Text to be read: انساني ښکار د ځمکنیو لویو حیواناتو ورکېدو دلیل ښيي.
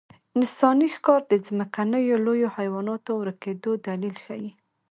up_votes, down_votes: 1, 2